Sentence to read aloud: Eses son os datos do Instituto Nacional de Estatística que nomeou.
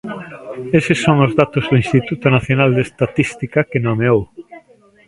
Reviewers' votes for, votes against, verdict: 1, 2, rejected